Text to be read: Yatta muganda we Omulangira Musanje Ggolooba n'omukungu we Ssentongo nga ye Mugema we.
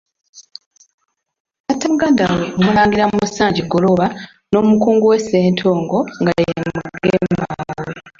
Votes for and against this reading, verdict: 0, 2, rejected